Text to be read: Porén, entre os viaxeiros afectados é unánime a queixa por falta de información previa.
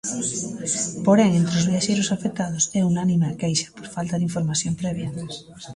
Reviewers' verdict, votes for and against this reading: accepted, 2, 1